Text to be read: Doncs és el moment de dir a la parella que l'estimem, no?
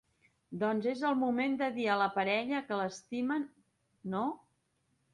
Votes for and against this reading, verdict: 0, 2, rejected